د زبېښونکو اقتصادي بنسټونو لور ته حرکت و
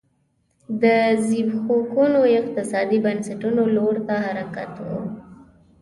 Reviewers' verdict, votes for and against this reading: rejected, 1, 2